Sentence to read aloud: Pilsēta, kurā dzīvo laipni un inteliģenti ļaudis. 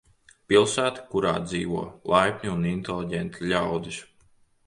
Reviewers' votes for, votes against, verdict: 2, 0, accepted